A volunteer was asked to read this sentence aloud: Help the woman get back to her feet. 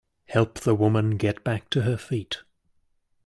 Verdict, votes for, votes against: accepted, 2, 0